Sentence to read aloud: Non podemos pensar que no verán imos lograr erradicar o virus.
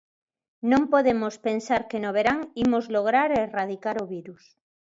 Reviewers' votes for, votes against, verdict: 2, 0, accepted